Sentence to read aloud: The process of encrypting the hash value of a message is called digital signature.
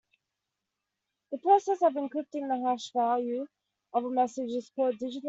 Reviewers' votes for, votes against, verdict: 0, 2, rejected